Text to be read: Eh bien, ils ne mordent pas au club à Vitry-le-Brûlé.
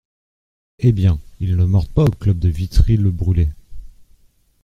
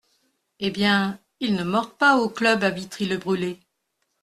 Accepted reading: second